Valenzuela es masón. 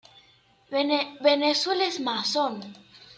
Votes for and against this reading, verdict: 1, 2, rejected